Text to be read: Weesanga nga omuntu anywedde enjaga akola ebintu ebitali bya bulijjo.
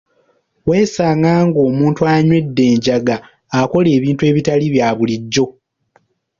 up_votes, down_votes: 0, 2